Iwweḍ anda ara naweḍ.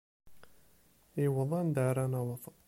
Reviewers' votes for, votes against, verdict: 0, 2, rejected